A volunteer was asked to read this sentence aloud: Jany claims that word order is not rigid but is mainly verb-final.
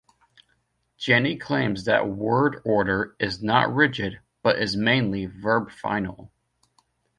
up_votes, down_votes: 2, 0